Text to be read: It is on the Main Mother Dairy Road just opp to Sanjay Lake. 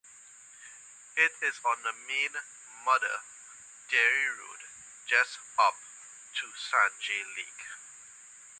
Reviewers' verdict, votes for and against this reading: accepted, 2, 1